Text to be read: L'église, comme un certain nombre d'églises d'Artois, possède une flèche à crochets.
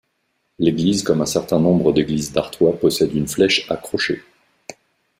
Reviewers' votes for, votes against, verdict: 3, 0, accepted